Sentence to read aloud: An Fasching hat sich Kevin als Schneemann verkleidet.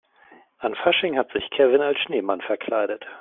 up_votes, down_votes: 2, 0